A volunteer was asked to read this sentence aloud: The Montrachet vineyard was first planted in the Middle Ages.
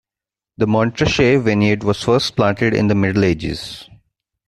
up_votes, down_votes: 2, 0